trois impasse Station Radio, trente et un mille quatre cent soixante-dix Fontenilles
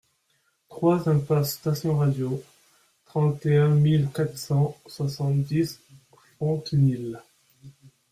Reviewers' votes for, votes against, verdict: 2, 1, accepted